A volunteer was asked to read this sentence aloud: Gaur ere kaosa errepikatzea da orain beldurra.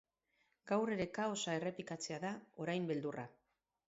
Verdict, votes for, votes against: accepted, 4, 0